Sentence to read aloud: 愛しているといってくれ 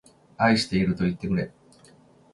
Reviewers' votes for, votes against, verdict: 2, 0, accepted